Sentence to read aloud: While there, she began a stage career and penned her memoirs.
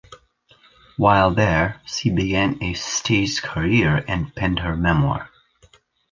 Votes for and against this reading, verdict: 1, 2, rejected